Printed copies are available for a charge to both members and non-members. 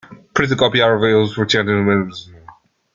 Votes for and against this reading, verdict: 1, 2, rejected